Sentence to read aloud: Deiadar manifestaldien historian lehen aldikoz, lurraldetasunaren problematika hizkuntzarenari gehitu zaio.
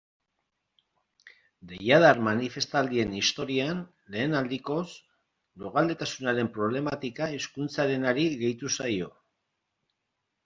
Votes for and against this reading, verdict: 2, 0, accepted